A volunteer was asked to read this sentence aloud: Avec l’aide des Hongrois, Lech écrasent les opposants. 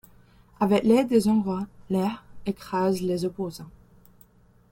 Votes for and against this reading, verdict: 0, 2, rejected